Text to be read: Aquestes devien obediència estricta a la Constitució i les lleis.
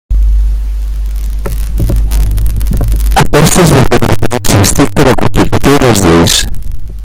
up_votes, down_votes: 0, 2